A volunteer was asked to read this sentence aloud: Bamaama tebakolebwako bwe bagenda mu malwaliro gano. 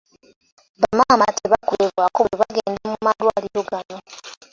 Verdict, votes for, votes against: accepted, 2, 0